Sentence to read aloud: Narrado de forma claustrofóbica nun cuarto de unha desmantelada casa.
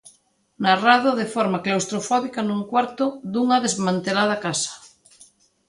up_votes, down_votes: 2, 0